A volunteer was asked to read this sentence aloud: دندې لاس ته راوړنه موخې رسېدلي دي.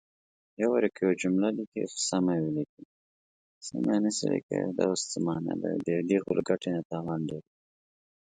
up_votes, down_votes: 1, 2